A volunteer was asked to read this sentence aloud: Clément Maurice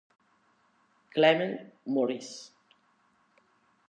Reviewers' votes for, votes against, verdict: 2, 0, accepted